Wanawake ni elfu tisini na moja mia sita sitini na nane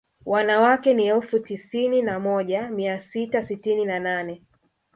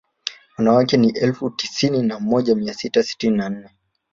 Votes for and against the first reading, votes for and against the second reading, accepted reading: 1, 2, 2, 0, second